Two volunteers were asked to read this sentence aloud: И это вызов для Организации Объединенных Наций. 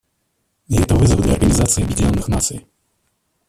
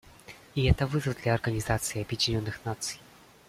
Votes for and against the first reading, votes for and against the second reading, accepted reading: 1, 2, 2, 0, second